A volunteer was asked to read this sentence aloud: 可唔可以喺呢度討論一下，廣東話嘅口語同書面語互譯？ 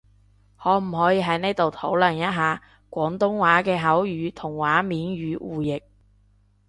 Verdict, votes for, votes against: rejected, 0, 2